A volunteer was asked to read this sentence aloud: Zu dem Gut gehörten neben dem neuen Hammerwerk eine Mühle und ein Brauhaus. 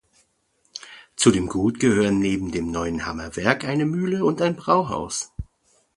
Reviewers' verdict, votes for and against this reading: rejected, 1, 2